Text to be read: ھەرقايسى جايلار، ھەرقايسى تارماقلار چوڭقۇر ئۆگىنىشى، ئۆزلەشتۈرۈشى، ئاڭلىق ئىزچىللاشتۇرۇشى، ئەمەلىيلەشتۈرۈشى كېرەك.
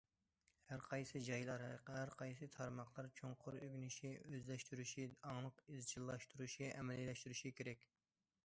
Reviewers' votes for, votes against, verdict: 2, 0, accepted